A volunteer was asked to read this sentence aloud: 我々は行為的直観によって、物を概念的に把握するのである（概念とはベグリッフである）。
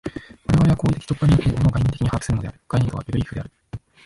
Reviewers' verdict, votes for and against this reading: rejected, 0, 2